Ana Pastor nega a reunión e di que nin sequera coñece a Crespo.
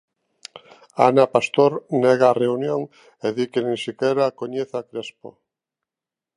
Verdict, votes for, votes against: accepted, 2, 0